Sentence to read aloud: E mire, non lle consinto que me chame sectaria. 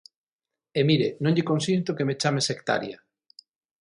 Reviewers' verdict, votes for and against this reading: accepted, 6, 0